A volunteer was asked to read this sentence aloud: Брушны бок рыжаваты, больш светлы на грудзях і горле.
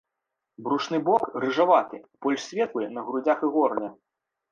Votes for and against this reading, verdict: 2, 0, accepted